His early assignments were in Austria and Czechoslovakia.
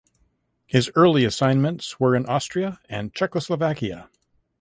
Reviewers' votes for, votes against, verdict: 2, 0, accepted